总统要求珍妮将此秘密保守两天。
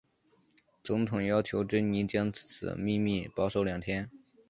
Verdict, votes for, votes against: accepted, 7, 0